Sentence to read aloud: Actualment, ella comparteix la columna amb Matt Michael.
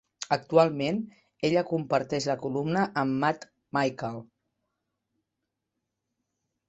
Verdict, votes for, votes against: accepted, 3, 0